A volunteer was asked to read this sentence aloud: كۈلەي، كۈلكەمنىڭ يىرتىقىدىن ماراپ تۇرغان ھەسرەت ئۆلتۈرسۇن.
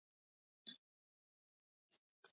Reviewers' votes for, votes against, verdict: 0, 2, rejected